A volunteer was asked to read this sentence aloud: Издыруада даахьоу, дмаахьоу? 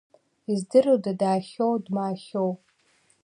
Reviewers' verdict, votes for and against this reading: accepted, 2, 0